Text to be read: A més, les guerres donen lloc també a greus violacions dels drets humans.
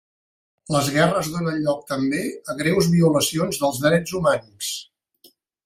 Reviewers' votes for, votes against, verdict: 0, 2, rejected